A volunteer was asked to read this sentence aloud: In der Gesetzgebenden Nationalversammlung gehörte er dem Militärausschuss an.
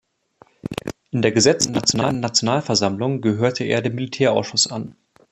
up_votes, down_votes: 0, 2